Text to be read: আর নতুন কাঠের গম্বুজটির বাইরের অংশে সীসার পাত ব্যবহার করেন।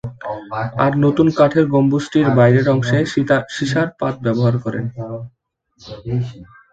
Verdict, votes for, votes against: rejected, 0, 2